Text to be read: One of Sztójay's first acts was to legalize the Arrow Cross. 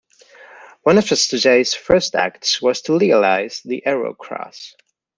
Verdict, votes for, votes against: rejected, 1, 2